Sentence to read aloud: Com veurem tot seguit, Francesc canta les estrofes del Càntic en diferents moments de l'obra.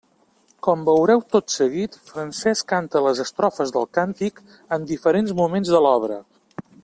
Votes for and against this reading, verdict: 0, 2, rejected